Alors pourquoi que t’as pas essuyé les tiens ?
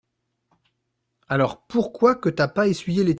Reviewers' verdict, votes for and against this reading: rejected, 0, 2